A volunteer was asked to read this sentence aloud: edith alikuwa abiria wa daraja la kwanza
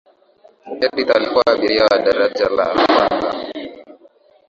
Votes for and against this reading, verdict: 2, 1, accepted